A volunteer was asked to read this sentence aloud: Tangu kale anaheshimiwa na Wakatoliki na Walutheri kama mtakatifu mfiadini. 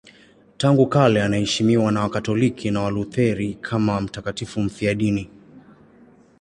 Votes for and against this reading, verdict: 2, 0, accepted